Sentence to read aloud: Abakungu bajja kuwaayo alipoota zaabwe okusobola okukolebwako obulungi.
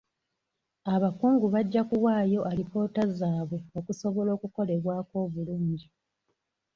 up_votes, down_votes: 2, 0